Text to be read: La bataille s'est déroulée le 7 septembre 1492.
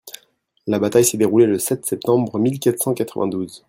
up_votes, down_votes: 0, 2